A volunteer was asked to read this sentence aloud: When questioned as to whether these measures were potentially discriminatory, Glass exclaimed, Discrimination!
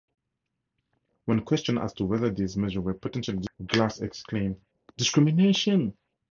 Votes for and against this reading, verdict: 0, 2, rejected